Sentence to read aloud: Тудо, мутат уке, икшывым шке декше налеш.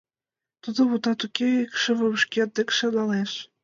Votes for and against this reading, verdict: 2, 0, accepted